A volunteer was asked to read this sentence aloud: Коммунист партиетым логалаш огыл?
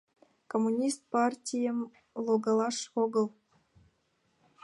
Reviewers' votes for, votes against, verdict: 2, 0, accepted